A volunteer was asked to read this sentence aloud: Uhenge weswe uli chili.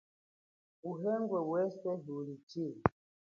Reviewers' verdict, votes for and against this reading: accepted, 4, 1